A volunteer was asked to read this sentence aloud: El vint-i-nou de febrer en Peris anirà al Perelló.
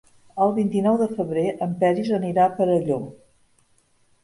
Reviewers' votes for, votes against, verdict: 0, 3, rejected